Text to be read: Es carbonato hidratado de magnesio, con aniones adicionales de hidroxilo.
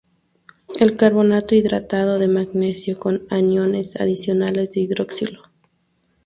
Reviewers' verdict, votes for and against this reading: accepted, 2, 0